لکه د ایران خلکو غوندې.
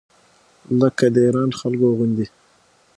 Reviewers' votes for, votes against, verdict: 6, 0, accepted